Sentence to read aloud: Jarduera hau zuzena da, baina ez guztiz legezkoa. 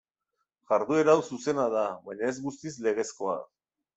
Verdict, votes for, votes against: accepted, 2, 1